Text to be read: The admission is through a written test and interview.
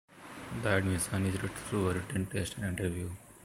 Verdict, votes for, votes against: rejected, 0, 2